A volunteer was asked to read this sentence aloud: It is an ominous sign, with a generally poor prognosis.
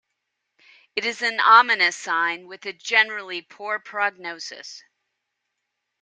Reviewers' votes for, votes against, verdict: 2, 0, accepted